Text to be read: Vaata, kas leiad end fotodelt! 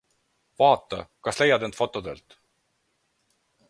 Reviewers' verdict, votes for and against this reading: accepted, 4, 0